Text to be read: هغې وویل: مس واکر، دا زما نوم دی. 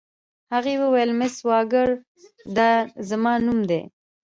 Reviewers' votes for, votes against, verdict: 2, 0, accepted